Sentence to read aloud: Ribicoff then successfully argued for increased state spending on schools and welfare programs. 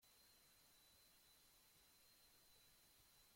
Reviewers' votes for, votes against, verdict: 0, 2, rejected